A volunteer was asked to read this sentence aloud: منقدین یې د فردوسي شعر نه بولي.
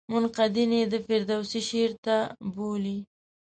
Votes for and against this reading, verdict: 3, 4, rejected